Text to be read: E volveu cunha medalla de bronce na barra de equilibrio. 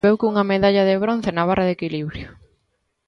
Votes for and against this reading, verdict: 0, 2, rejected